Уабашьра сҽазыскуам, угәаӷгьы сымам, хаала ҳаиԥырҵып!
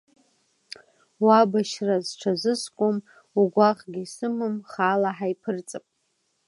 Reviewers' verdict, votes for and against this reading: accepted, 2, 1